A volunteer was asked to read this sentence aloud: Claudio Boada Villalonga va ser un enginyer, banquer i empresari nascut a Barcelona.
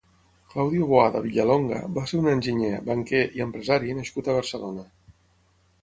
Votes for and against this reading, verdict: 6, 3, accepted